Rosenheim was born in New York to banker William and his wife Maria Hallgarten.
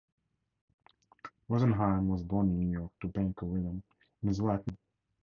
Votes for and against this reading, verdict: 2, 2, rejected